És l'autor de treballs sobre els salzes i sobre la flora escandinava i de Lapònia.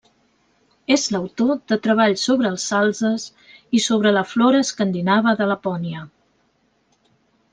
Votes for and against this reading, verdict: 1, 2, rejected